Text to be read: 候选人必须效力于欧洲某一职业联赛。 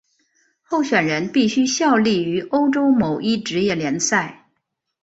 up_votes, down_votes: 3, 0